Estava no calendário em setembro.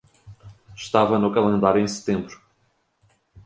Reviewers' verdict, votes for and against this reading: accepted, 2, 0